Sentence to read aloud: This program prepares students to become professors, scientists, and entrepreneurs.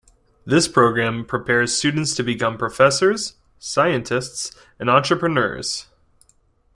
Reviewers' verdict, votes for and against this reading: accepted, 2, 0